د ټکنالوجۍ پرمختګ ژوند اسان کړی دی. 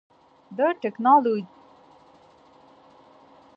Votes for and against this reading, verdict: 0, 2, rejected